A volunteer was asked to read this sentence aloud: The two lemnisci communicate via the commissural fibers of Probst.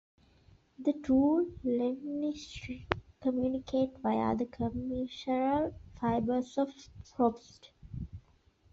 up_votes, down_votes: 0, 2